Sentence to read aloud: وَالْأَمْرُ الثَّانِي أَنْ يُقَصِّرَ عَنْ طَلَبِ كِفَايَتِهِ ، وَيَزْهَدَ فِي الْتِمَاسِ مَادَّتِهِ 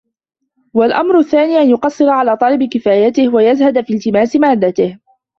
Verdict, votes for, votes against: rejected, 0, 2